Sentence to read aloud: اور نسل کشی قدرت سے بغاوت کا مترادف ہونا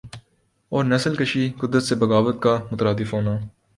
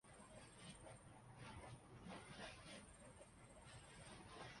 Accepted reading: first